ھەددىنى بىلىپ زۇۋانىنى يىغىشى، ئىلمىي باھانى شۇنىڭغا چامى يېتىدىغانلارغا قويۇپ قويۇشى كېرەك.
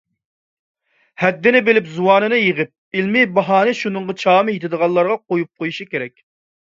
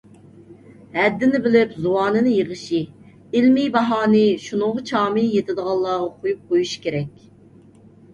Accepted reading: second